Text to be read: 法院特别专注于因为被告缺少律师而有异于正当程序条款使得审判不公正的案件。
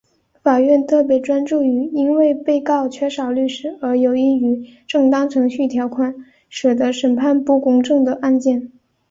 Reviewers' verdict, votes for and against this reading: accepted, 2, 0